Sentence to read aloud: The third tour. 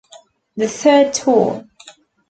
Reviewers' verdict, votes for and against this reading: accepted, 2, 0